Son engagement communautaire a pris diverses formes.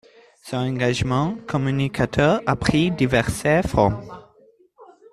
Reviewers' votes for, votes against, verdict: 0, 2, rejected